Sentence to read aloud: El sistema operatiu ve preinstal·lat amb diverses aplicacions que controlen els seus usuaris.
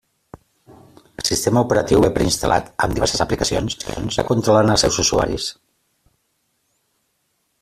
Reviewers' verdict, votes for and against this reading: rejected, 0, 2